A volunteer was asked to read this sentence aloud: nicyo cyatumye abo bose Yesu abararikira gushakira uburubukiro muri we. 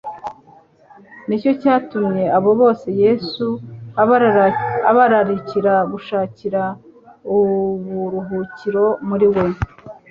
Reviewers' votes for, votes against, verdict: 0, 2, rejected